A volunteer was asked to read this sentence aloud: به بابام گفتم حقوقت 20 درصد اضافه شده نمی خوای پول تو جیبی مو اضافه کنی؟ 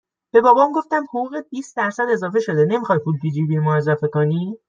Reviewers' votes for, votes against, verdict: 0, 2, rejected